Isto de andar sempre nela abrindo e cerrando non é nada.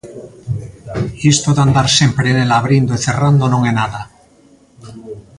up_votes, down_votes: 1, 2